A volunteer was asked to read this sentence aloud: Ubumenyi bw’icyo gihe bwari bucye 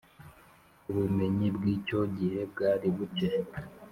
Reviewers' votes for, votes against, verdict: 3, 0, accepted